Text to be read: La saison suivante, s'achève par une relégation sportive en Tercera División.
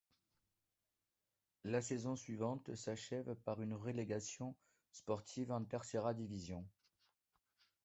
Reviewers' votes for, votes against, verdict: 1, 2, rejected